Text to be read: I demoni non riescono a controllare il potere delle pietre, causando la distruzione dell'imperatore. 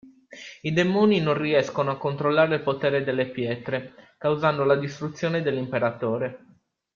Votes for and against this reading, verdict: 1, 2, rejected